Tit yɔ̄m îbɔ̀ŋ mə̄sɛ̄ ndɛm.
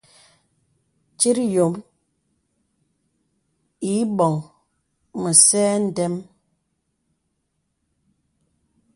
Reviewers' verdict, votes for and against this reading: accepted, 2, 0